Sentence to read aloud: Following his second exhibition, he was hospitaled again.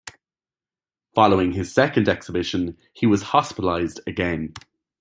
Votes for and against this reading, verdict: 1, 2, rejected